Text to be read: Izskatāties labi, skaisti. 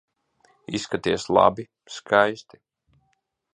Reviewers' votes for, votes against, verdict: 1, 2, rejected